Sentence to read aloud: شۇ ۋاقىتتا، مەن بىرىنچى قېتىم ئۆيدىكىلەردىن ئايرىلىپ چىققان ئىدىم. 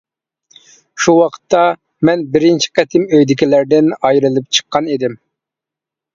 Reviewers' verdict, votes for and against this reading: accepted, 2, 0